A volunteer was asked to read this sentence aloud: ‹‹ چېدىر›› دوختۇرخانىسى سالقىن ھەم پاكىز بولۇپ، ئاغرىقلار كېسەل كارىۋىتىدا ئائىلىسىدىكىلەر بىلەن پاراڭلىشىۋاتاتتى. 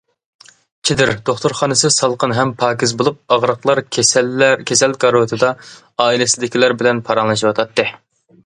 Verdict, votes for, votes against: rejected, 0, 2